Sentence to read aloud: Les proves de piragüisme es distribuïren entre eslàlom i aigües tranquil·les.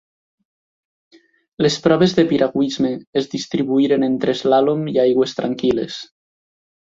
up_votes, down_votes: 2, 0